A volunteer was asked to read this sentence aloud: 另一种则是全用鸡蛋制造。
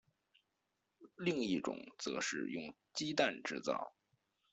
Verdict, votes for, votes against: rejected, 0, 2